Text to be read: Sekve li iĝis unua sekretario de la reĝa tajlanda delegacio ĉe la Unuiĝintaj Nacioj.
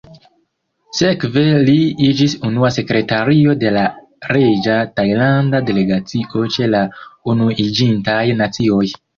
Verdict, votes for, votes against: rejected, 1, 2